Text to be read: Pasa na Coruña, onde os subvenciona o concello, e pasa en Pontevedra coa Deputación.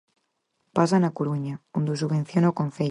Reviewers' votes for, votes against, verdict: 0, 4, rejected